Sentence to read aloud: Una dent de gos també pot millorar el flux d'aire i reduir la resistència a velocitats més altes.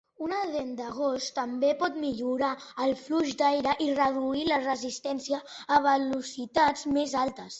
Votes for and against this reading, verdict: 1, 2, rejected